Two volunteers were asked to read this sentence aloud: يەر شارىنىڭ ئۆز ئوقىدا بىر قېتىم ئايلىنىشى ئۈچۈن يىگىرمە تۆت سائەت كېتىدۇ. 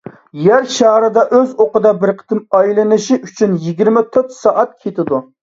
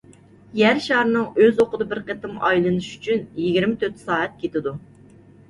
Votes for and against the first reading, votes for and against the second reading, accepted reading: 0, 2, 2, 0, second